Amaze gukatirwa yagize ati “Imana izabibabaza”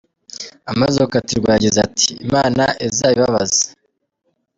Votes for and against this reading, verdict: 1, 2, rejected